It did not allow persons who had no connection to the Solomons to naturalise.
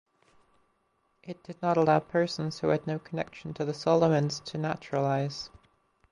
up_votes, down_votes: 0, 2